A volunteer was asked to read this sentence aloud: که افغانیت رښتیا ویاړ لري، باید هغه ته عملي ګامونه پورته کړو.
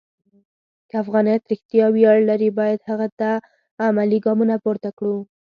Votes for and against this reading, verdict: 4, 0, accepted